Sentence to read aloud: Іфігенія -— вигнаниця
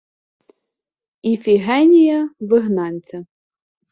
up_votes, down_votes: 1, 2